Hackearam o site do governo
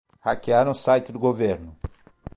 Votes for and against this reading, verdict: 3, 3, rejected